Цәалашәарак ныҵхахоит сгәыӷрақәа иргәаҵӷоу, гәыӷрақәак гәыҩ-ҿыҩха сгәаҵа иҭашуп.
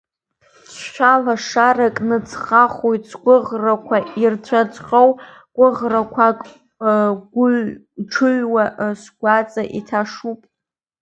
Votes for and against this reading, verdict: 1, 2, rejected